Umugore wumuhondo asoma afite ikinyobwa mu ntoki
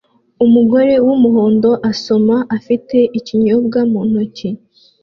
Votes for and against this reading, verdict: 2, 0, accepted